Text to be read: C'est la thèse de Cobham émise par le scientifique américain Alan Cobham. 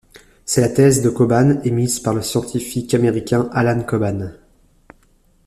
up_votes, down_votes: 1, 2